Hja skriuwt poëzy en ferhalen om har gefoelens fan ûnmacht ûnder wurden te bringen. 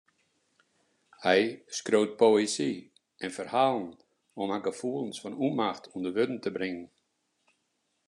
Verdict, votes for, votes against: rejected, 0, 2